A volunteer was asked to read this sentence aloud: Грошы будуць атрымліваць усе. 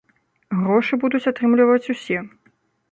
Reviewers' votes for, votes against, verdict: 2, 0, accepted